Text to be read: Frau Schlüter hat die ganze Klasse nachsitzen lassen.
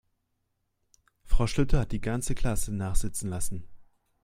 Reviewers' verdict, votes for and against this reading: rejected, 1, 2